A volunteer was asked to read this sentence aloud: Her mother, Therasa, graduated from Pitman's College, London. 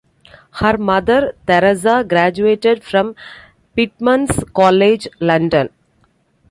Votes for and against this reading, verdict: 2, 0, accepted